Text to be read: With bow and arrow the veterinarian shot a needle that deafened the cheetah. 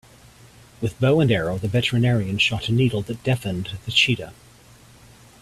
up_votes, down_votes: 2, 1